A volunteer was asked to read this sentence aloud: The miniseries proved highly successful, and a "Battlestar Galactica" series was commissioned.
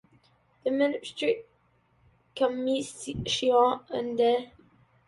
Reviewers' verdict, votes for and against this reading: rejected, 0, 2